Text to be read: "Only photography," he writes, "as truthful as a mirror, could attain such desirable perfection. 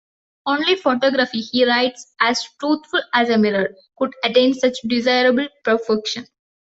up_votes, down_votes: 0, 2